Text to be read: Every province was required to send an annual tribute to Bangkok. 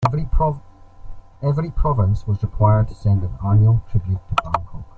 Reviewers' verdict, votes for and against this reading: rejected, 0, 2